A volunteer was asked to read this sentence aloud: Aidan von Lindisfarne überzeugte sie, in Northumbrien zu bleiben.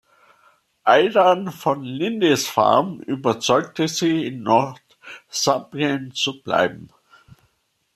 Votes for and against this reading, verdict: 1, 2, rejected